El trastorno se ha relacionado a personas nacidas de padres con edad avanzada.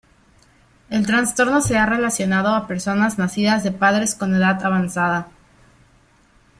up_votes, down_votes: 1, 2